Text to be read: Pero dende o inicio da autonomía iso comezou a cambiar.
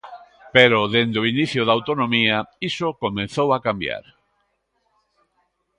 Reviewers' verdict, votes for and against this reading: rejected, 1, 2